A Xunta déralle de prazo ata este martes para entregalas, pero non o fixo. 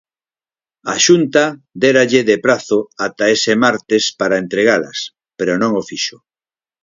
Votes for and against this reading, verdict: 0, 4, rejected